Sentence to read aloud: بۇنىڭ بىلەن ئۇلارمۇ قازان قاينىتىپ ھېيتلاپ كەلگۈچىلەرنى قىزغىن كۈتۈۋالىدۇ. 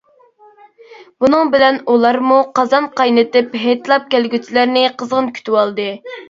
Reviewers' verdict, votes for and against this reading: rejected, 1, 2